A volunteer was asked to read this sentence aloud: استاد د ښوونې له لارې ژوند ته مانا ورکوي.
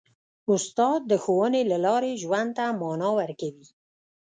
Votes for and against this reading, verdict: 1, 2, rejected